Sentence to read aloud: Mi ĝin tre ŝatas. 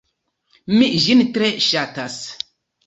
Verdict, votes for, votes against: rejected, 1, 2